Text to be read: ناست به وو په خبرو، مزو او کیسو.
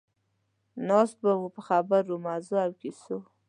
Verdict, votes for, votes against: accepted, 2, 0